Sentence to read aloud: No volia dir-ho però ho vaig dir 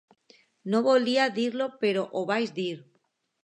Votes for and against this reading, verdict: 2, 1, accepted